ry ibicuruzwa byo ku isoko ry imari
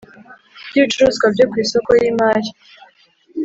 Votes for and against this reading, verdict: 1, 2, rejected